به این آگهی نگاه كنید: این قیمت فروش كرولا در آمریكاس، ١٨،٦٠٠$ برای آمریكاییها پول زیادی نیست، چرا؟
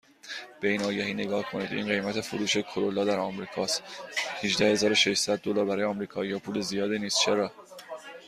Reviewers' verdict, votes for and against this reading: rejected, 0, 2